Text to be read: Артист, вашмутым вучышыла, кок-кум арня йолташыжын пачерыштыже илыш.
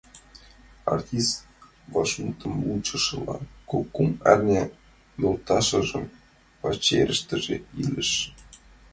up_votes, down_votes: 2, 1